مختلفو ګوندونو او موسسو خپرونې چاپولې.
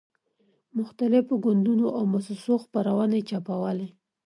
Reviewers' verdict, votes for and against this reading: accepted, 2, 0